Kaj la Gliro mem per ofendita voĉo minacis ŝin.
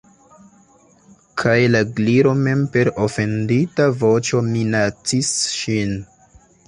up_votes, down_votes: 2, 0